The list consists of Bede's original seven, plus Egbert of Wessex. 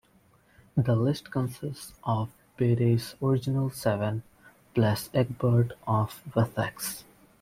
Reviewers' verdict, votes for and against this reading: rejected, 0, 2